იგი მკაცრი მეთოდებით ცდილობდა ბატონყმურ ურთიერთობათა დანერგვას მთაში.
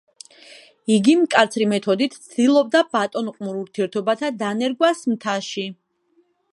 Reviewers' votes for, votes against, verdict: 1, 2, rejected